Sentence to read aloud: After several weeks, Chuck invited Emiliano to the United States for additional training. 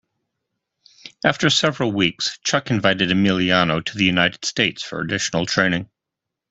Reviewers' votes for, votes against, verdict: 2, 0, accepted